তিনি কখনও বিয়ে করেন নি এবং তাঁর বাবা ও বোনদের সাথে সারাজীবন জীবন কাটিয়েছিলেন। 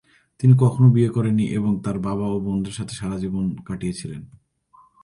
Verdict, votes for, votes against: rejected, 0, 2